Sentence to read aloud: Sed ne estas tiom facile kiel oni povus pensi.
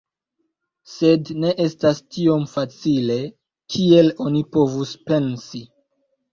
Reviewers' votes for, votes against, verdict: 2, 0, accepted